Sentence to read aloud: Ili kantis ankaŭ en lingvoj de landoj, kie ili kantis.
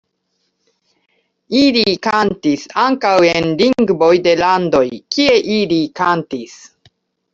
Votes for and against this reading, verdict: 2, 0, accepted